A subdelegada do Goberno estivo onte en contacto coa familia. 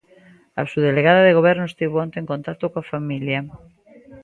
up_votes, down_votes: 1, 2